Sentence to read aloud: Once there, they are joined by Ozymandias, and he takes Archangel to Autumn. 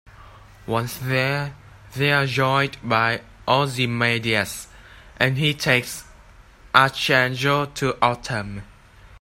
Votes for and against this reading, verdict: 2, 1, accepted